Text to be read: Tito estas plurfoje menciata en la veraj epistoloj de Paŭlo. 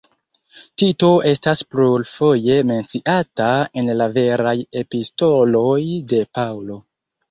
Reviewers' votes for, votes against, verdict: 0, 2, rejected